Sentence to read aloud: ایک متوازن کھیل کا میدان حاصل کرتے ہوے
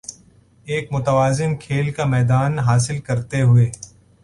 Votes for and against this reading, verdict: 2, 0, accepted